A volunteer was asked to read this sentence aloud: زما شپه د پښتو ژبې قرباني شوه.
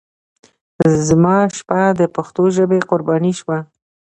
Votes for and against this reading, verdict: 2, 0, accepted